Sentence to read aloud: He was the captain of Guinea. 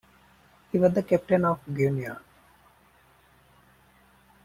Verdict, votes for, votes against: rejected, 0, 2